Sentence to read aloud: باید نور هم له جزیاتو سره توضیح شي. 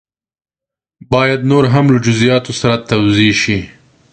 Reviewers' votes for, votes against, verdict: 2, 0, accepted